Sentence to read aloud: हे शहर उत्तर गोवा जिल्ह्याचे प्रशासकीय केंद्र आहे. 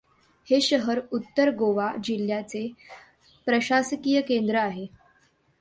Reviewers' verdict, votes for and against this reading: accepted, 2, 0